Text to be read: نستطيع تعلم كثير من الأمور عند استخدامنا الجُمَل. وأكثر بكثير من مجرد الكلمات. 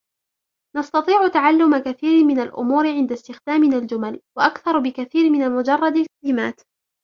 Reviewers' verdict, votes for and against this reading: accepted, 4, 2